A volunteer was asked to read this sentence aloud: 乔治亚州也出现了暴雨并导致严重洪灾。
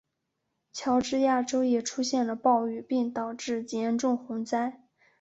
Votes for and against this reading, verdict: 2, 0, accepted